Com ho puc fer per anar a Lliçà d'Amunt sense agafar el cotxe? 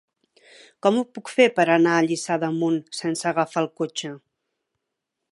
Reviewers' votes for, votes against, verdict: 3, 0, accepted